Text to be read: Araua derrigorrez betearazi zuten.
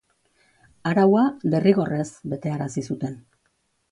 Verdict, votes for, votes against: accepted, 3, 0